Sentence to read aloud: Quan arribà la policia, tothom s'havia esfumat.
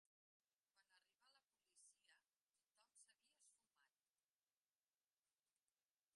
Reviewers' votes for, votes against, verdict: 0, 2, rejected